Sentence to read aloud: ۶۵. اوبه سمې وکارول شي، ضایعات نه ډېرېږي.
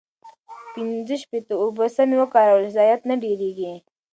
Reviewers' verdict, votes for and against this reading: rejected, 0, 2